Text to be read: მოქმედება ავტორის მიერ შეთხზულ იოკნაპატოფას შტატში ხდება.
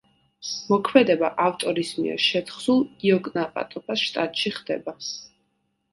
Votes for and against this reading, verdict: 2, 0, accepted